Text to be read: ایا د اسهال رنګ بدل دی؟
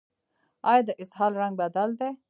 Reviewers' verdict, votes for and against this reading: accepted, 2, 0